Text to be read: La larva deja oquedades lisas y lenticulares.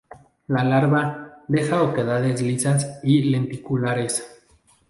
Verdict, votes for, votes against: accepted, 2, 0